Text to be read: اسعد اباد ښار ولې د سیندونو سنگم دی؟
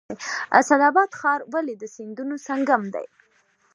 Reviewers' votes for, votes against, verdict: 2, 0, accepted